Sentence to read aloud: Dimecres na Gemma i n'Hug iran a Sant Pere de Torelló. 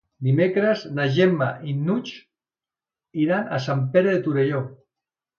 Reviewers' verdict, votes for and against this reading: rejected, 1, 2